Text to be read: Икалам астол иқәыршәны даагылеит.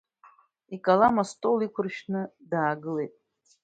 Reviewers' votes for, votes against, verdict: 2, 0, accepted